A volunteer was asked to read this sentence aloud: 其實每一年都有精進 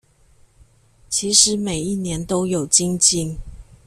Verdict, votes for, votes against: accepted, 2, 1